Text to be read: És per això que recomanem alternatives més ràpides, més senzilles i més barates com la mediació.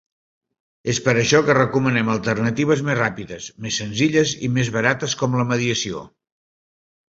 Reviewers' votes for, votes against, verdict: 3, 0, accepted